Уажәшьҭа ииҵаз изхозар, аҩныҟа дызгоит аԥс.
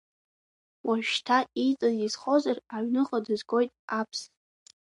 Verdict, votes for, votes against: accepted, 2, 0